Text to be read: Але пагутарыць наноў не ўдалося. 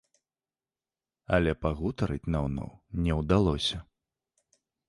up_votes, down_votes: 0, 2